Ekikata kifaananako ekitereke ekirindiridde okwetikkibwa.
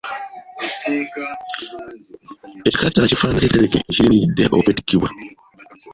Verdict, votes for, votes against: rejected, 1, 2